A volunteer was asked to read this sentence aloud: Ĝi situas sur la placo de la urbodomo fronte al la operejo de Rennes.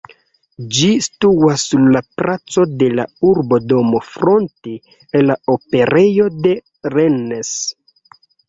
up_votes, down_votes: 1, 2